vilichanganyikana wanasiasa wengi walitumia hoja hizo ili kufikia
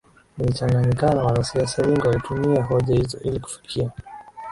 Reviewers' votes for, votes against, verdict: 0, 2, rejected